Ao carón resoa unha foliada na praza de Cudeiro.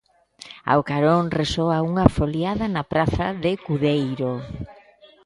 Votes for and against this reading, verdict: 2, 0, accepted